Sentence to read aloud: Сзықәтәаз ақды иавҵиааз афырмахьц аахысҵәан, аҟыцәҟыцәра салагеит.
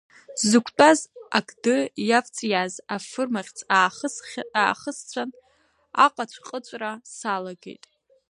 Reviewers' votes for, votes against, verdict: 0, 2, rejected